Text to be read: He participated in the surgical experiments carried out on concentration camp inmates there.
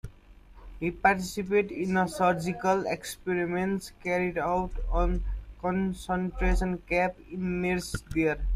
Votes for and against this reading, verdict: 0, 2, rejected